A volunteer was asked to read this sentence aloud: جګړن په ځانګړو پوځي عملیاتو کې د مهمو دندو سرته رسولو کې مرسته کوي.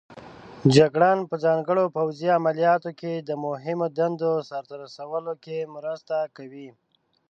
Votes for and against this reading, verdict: 0, 2, rejected